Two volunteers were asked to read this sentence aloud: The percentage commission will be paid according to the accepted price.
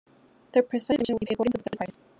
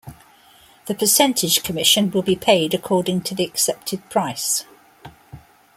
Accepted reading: second